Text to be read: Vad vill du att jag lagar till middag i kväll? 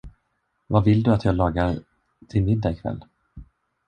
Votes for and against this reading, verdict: 0, 2, rejected